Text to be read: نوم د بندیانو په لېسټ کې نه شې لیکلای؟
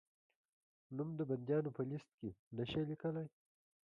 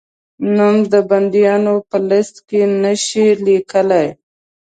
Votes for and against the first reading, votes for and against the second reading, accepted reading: 1, 2, 3, 0, second